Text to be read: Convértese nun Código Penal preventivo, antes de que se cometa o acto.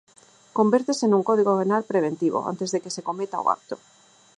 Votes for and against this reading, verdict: 2, 4, rejected